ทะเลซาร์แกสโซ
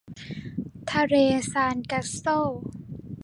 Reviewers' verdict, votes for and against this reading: rejected, 0, 2